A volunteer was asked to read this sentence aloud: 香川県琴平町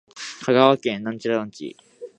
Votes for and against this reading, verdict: 0, 2, rejected